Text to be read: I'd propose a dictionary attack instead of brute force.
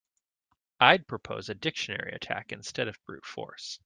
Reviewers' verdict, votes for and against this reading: accepted, 2, 0